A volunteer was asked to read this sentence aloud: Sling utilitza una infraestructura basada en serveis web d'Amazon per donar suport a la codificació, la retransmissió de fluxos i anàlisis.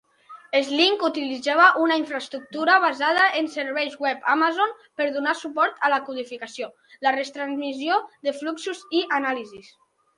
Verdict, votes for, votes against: rejected, 0, 3